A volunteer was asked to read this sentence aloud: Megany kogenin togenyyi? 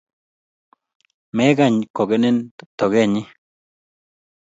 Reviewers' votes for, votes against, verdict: 2, 0, accepted